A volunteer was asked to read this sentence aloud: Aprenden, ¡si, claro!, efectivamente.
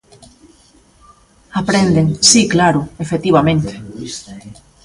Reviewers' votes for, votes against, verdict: 0, 2, rejected